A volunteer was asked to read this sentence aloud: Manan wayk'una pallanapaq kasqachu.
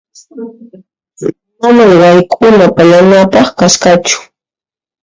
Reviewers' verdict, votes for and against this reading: accepted, 2, 0